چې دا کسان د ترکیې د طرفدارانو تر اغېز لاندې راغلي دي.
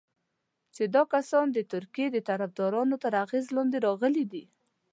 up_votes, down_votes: 2, 0